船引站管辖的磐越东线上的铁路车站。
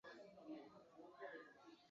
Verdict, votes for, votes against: rejected, 0, 2